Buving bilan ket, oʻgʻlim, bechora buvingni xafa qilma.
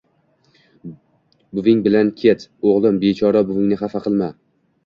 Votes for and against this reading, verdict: 2, 1, accepted